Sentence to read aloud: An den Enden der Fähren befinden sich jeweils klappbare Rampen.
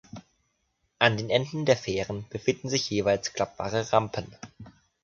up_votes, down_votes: 2, 0